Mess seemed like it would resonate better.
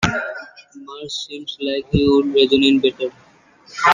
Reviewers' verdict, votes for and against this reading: rejected, 0, 2